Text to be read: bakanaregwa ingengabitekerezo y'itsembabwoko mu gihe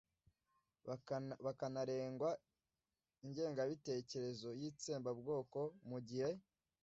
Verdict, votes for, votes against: rejected, 0, 2